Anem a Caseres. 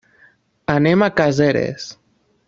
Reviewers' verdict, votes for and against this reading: accepted, 3, 0